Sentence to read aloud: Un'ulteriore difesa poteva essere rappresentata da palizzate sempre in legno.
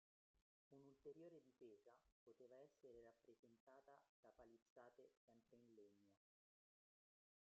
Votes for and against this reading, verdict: 0, 2, rejected